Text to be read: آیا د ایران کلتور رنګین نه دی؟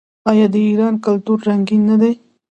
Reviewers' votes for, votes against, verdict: 2, 0, accepted